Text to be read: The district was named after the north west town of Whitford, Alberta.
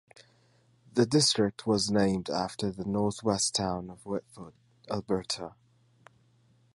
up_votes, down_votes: 2, 1